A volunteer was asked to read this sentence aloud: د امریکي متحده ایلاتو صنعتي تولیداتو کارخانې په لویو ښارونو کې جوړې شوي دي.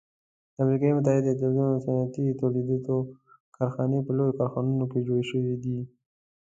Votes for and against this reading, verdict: 1, 3, rejected